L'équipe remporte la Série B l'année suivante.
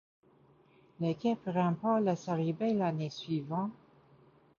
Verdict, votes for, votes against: accepted, 2, 0